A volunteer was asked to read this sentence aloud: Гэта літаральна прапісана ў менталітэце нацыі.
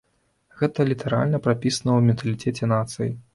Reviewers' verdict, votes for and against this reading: rejected, 1, 2